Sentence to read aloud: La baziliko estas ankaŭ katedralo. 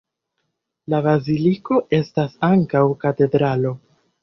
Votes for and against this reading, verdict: 2, 1, accepted